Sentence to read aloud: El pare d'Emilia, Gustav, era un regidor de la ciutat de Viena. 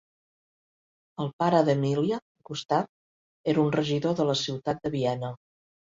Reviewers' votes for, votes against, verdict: 4, 0, accepted